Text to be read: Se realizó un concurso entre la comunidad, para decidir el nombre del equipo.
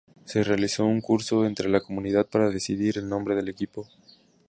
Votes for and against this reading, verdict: 0, 2, rejected